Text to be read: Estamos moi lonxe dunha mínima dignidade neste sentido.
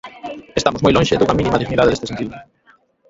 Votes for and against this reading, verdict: 0, 2, rejected